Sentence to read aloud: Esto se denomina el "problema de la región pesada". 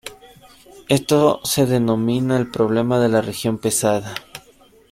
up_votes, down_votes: 2, 0